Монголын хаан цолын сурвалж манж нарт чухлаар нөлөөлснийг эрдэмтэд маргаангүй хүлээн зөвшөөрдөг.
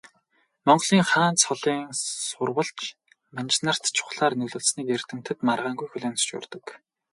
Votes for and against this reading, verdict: 2, 2, rejected